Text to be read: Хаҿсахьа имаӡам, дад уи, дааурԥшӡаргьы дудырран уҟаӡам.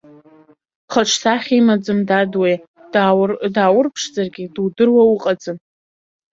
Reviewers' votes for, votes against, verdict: 0, 2, rejected